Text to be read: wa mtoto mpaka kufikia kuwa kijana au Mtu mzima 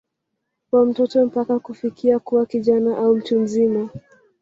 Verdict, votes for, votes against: rejected, 1, 2